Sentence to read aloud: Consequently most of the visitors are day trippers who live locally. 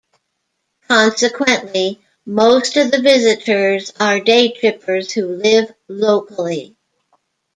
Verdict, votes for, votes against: accepted, 2, 0